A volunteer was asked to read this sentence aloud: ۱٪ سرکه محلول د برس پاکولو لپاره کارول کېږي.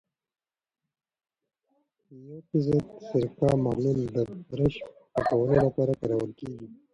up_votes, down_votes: 0, 2